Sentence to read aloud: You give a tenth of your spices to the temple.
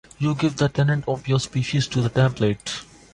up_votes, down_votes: 1, 2